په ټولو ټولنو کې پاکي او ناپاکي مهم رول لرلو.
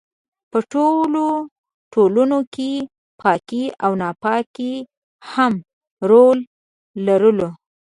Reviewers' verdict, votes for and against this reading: rejected, 0, 3